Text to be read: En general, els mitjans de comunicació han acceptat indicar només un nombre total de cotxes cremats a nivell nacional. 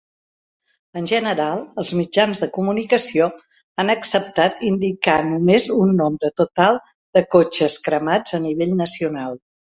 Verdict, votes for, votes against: accepted, 3, 0